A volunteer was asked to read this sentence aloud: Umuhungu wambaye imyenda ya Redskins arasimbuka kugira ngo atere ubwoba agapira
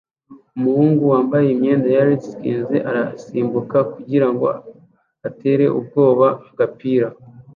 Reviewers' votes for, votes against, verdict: 1, 2, rejected